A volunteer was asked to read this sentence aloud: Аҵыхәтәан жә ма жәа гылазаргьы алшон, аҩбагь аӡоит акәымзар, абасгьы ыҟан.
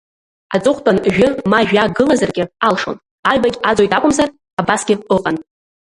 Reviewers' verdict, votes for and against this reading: rejected, 1, 2